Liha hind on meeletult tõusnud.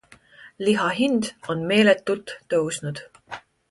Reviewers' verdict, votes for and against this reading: accepted, 2, 0